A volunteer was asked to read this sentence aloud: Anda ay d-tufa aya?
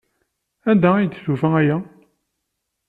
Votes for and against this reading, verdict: 2, 0, accepted